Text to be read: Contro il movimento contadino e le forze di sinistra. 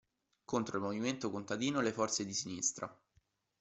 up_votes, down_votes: 2, 0